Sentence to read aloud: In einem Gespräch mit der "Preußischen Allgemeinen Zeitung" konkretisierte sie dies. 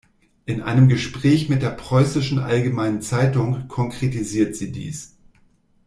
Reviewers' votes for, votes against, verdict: 0, 2, rejected